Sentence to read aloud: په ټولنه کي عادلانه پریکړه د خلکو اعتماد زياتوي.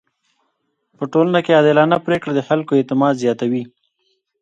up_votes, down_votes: 1, 2